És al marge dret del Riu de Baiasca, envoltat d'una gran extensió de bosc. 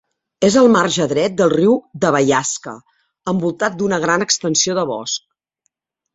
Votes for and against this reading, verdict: 2, 0, accepted